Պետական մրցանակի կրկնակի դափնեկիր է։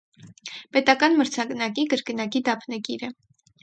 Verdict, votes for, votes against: rejected, 0, 2